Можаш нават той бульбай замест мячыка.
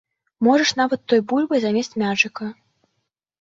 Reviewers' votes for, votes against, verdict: 2, 0, accepted